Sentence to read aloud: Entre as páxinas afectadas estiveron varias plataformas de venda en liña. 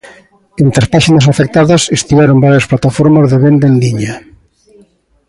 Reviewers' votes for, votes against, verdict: 2, 0, accepted